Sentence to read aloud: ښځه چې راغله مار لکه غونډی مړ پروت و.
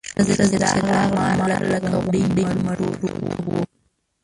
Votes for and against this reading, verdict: 0, 2, rejected